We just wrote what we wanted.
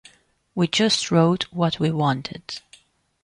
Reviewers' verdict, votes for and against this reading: accepted, 2, 0